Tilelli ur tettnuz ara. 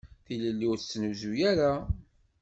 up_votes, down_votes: 1, 2